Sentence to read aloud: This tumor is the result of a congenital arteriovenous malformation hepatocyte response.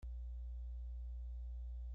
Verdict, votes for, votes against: rejected, 0, 2